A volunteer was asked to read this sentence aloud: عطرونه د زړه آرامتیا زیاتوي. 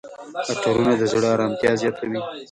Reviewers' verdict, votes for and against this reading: rejected, 1, 2